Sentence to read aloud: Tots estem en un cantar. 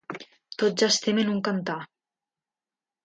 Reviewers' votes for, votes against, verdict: 2, 0, accepted